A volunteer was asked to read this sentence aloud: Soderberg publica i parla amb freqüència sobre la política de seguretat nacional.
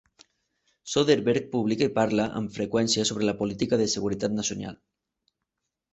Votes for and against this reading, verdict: 0, 2, rejected